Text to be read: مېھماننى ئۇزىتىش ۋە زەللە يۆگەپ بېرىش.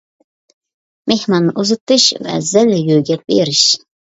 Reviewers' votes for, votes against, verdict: 2, 0, accepted